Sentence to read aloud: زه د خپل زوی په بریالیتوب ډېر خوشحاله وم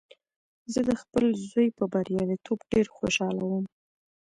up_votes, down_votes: 0, 2